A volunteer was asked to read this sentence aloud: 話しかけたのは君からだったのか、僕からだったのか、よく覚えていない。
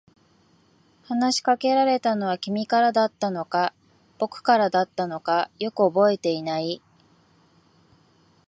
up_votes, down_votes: 3, 0